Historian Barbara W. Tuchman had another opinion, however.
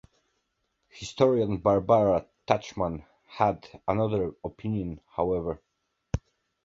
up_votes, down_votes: 0, 2